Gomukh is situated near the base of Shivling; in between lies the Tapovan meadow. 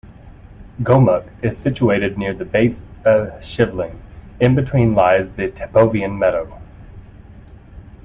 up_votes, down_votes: 0, 2